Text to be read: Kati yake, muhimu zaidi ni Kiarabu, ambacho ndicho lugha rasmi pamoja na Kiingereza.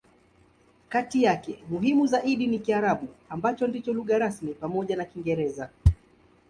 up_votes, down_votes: 2, 0